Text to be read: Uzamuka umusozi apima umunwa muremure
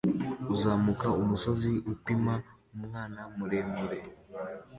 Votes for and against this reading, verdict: 2, 0, accepted